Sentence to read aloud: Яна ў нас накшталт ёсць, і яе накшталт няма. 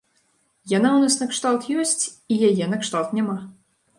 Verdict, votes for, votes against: accepted, 2, 0